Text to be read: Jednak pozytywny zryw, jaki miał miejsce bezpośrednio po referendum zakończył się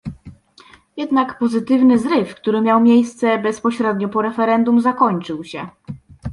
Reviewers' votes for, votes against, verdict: 0, 2, rejected